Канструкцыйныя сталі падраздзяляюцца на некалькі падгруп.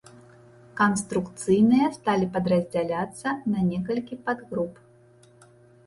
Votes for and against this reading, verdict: 1, 2, rejected